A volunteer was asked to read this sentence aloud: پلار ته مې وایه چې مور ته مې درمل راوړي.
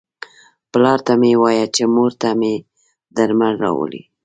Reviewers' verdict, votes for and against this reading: accepted, 2, 0